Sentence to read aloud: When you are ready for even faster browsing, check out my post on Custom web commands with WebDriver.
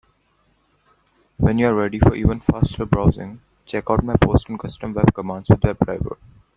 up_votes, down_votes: 0, 4